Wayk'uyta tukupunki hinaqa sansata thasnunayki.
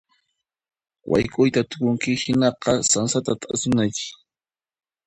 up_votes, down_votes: 1, 2